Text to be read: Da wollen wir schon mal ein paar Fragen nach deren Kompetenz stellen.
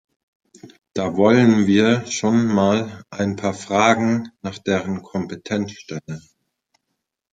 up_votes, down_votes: 2, 0